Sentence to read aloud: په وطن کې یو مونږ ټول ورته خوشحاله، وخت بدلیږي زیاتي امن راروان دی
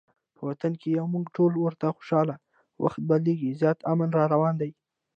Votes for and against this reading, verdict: 2, 0, accepted